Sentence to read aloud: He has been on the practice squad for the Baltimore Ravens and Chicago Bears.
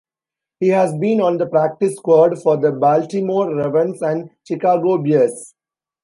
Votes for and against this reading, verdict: 1, 2, rejected